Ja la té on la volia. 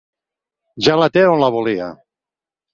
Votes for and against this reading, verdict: 6, 0, accepted